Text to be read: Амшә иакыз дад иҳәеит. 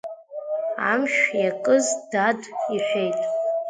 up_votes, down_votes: 1, 2